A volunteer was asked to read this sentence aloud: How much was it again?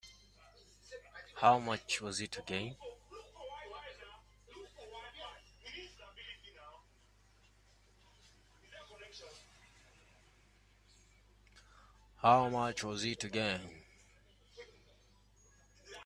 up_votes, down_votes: 0, 2